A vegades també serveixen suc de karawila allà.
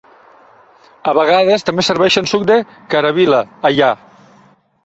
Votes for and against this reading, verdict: 2, 1, accepted